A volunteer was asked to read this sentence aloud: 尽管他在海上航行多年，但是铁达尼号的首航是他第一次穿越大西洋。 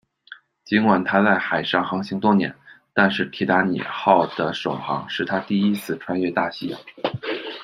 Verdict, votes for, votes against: accepted, 2, 0